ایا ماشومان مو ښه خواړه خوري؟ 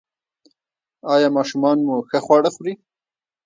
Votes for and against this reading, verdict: 1, 2, rejected